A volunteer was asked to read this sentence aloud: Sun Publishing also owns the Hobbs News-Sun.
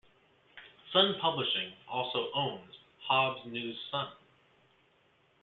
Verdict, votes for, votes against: accepted, 2, 0